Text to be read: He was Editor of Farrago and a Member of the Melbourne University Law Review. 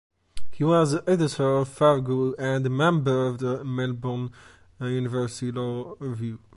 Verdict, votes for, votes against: accepted, 2, 0